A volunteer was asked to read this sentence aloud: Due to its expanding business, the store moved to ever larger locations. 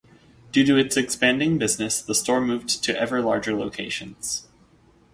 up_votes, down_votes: 4, 0